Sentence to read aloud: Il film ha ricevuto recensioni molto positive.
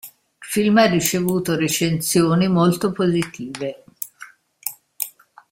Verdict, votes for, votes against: rejected, 1, 2